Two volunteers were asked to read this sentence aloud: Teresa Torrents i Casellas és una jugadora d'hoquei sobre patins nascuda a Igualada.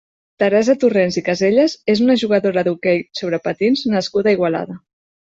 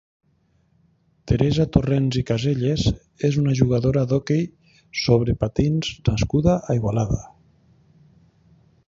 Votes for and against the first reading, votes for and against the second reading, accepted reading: 2, 0, 1, 2, first